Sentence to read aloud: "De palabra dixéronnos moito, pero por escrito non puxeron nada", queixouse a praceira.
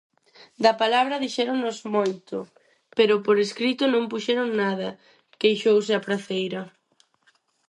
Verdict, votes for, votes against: rejected, 0, 4